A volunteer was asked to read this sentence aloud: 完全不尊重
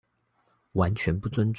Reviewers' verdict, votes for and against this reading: rejected, 1, 2